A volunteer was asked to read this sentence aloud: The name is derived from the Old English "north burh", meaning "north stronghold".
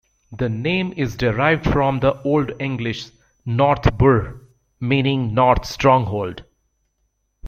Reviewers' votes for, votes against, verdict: 2, 0, accepted